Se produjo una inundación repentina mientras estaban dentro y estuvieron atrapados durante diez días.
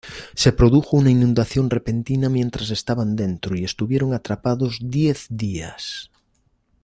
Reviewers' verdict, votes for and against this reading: rejected, 1, 2